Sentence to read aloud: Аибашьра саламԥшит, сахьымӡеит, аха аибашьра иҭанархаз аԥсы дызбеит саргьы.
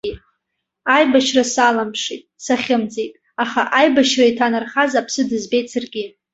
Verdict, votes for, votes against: accepted, 2, 0